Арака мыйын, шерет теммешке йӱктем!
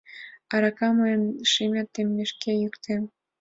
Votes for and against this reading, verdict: 2, 1, accepted